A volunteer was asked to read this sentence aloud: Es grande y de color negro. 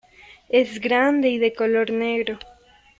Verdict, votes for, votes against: accepted, 2, 0